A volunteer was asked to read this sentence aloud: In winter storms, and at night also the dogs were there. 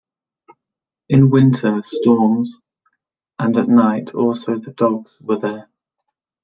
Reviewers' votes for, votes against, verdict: 2, 0, accepted